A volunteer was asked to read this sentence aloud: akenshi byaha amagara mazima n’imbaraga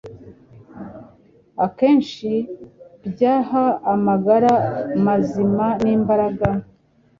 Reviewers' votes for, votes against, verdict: 2, 0, accepted